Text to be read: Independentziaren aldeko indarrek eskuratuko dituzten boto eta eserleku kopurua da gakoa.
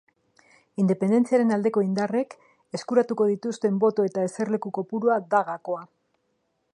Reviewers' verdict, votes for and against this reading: accepted, 2, 0